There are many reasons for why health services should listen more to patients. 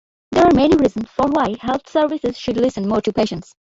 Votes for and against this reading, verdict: 2, 1, accepted